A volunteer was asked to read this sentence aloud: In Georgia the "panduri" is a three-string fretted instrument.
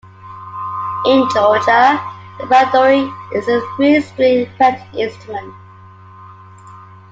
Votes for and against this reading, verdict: 2, 0, accepted